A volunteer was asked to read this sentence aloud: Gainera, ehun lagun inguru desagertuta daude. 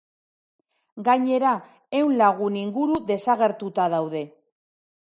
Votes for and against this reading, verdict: 2, 0, accepted